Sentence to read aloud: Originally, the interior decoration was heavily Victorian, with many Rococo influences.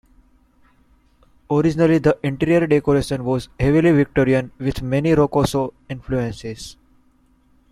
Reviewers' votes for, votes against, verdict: 0, 2, rejected